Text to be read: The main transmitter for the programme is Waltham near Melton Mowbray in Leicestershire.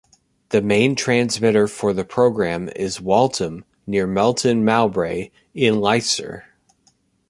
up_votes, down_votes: 1, 2